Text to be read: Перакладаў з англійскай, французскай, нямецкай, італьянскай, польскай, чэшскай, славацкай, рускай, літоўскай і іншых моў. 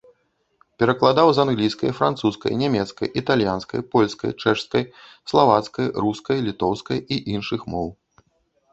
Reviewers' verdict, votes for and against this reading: accepted, 2, 0